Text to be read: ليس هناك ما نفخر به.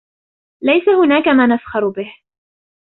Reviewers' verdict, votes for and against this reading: rejected, 0, 2